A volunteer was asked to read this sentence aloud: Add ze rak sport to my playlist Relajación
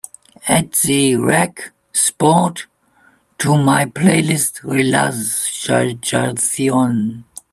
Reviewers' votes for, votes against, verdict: 0, 3, rejected